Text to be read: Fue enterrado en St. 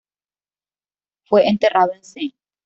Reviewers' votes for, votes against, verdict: 1, 2, rejected